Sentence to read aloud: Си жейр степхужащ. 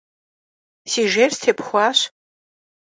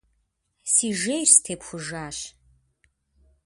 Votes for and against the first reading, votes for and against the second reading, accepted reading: 0, 2, 2, 0, second